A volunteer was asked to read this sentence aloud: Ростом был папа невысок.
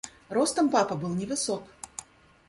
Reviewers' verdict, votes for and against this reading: rejected, 1, 2